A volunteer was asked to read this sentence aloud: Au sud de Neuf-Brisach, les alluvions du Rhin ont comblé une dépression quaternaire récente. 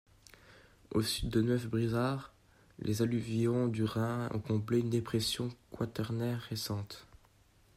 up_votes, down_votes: 2, 0